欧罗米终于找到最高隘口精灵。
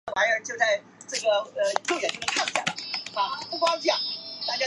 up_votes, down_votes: 0, 4